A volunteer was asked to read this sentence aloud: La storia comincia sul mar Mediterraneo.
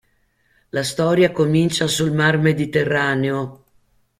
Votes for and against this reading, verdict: 1, 2, rejected